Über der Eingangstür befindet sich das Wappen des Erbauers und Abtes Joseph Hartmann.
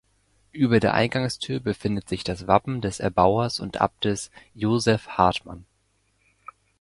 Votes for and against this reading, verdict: 2, 0, accepted